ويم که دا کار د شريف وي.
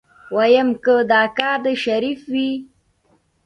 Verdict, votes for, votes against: accepted, 2, 0